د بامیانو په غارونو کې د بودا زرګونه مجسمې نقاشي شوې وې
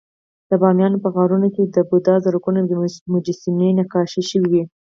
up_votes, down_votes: 2, 4